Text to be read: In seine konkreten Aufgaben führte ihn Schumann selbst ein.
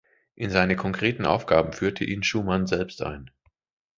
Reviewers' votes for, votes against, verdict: 2, 0, accepted